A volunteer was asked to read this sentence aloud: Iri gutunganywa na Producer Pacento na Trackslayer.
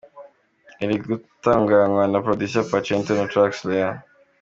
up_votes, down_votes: 2, 0